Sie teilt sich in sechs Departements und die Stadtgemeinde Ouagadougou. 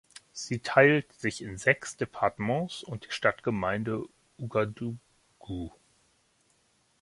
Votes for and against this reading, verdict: 1, 2, rejected